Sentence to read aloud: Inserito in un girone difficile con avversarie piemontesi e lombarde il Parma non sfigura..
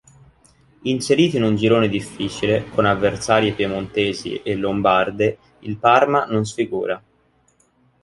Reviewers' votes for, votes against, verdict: 2, 0, accepted